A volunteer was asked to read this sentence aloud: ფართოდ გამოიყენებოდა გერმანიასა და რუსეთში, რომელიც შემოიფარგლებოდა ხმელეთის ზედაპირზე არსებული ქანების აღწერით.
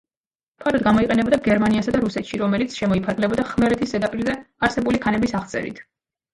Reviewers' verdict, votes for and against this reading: rejected, 1, 2